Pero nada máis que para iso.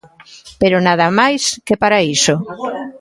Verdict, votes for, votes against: rejected, 0, 2